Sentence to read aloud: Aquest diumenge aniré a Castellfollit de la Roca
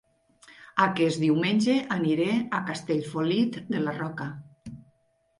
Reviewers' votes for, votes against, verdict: 1, 2, rejected